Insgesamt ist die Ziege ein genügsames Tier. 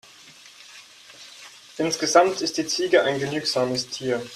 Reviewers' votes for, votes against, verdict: 4, 0, accepted